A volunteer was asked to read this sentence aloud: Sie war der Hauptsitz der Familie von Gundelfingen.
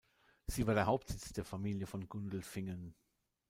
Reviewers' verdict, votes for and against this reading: rejected, 1, 2